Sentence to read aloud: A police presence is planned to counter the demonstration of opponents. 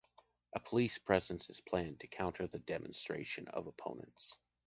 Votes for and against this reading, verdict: 2, 0, accepted